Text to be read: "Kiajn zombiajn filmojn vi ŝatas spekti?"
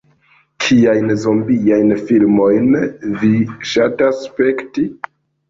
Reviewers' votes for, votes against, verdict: 2, 0, accepted